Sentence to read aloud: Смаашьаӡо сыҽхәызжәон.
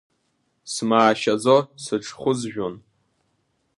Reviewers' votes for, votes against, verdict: 2, 0, accepted